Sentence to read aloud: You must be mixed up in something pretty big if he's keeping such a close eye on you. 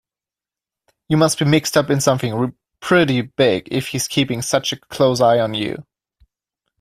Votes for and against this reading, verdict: 1, 2, rejected